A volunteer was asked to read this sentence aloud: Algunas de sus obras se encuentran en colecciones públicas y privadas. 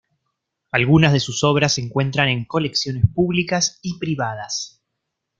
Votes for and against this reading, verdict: 3, 0, accepted